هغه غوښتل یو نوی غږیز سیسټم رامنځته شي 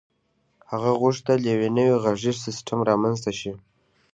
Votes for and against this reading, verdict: 3, 0, accepted